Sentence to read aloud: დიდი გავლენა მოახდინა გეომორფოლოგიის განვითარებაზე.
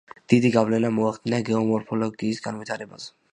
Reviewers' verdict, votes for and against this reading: accepted, 2, 0